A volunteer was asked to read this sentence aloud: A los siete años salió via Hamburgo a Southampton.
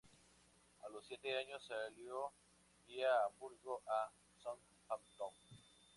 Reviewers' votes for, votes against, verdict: 2, 0, accepted